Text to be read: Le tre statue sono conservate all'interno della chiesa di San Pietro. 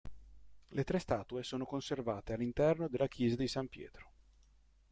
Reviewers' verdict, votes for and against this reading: rejected, 0, 2